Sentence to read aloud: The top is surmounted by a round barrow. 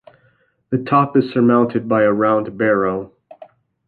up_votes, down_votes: 2, 0